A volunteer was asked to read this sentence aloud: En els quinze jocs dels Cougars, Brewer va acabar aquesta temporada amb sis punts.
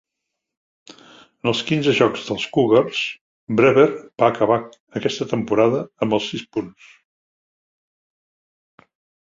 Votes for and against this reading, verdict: 0, 2, rejected